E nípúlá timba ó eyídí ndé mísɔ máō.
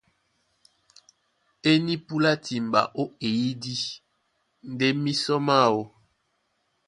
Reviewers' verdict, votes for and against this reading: accepted, 2, 0